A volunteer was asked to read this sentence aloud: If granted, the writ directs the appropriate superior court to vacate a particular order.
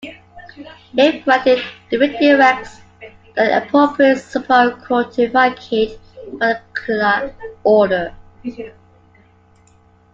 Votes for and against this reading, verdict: 1, 2, rejected